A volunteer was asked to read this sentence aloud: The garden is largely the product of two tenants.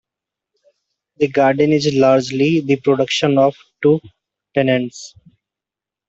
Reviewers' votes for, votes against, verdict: 0, 2, rejected